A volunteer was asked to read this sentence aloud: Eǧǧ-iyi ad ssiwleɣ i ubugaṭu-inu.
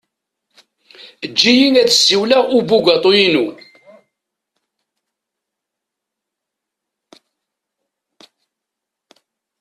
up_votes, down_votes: 2, 0